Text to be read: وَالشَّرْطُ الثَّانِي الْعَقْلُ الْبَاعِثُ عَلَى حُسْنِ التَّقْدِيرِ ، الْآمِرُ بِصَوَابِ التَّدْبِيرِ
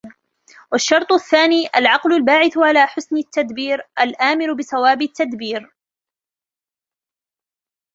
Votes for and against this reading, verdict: 0, 2, rejected